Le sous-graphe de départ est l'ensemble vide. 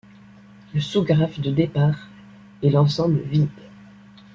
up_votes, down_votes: 2, 0